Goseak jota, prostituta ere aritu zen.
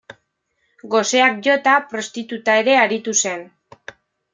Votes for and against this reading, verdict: 2, 0, accepted